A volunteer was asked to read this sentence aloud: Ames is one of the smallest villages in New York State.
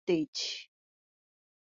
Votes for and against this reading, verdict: 0, 2, rejected